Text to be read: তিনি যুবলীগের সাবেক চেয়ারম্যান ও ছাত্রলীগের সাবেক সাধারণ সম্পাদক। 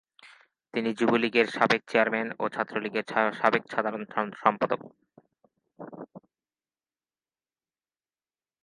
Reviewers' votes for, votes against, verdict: 0, 2, rejected